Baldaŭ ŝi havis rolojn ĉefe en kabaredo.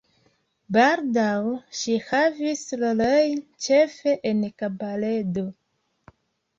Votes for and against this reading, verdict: 2, 0, accepted